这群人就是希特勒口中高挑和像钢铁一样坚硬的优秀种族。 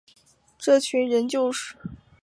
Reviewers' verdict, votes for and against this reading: rejected, 1, 2